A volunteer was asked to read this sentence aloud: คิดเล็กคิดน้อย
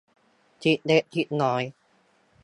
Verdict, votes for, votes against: rejected, 1, 2